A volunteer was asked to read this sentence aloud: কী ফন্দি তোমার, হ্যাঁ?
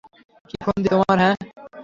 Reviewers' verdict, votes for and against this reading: rejected, 0, 3